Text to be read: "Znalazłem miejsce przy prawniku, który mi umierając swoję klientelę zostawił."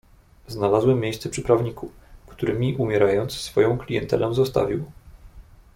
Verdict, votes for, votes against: rejected, 1, 2